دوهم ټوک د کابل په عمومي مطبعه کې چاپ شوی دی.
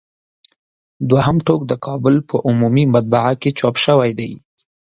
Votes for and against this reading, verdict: 2, 0, accepted